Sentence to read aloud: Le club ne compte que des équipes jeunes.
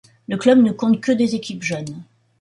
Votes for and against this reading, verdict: 2, 0, accepted